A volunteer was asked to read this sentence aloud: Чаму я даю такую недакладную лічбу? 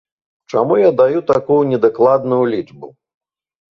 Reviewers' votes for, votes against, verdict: 2, 1, accepted